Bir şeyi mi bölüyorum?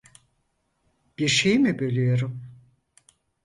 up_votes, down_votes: 4, 0